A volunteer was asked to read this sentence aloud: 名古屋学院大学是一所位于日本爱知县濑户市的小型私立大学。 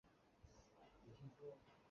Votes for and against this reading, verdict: 0, 3, rejected